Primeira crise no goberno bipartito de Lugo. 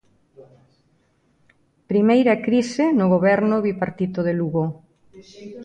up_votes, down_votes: 2, 0